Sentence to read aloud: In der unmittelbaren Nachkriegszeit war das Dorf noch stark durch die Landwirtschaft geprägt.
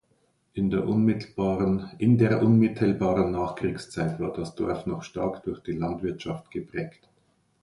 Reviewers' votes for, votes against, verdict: 0, 2, rejected